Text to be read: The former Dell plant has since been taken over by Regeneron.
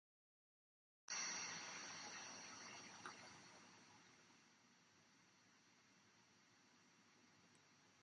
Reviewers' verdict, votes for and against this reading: rejected, 0, 2